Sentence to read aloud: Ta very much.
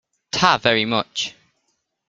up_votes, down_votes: 2, 0